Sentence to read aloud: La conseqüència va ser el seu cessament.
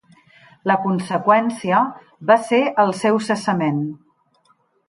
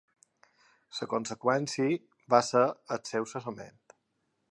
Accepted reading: first